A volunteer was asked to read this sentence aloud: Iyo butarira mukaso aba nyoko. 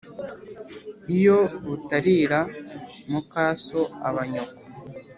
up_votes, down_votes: 2, 0